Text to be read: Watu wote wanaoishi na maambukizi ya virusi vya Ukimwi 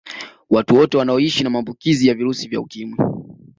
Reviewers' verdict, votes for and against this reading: accepted, 2, 0